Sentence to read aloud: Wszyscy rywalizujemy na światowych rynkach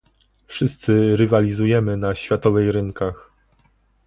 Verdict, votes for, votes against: rejected, 0, 2